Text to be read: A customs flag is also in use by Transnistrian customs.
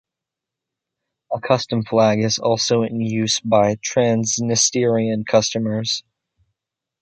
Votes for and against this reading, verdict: 1, 2, rejected